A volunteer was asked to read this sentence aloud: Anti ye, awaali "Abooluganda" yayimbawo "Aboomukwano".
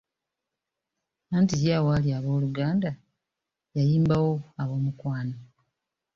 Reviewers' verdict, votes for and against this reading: accepted, 3, 0